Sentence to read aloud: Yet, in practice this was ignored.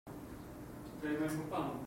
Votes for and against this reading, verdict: 1, 2, rejected